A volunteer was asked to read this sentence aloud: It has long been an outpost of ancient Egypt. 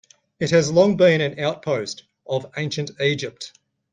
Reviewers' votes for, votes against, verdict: 2, 0, accepted